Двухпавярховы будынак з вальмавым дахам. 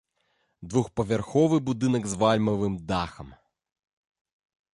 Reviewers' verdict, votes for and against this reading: accepted, 2, 0